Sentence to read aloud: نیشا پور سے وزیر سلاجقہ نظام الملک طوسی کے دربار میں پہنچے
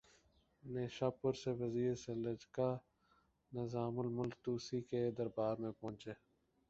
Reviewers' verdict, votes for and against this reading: rejected, 4, 5